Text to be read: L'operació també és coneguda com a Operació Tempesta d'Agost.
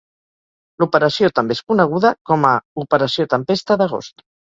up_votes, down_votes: 4, 0